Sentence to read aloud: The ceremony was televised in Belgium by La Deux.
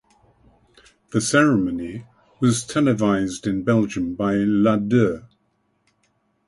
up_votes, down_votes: 6, 0